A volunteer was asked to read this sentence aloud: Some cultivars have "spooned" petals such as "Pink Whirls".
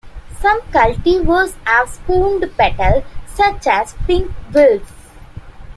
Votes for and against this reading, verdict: 2, 1, accepted